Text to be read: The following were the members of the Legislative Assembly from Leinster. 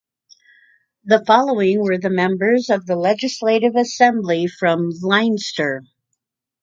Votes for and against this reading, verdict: 2, 0, accepted